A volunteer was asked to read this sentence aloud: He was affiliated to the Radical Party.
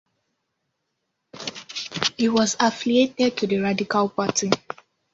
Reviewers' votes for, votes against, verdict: 1, 2, rejected